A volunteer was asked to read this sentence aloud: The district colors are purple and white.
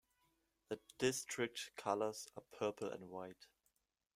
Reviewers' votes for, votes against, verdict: 2, 0, accepted